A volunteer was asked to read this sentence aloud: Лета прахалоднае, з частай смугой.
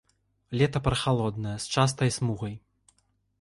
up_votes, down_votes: 1, 2